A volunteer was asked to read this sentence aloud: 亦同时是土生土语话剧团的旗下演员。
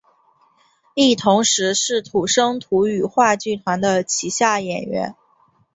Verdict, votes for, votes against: accepted, 3, 0